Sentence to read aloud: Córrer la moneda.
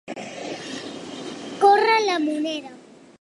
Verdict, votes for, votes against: accepted, 2, 0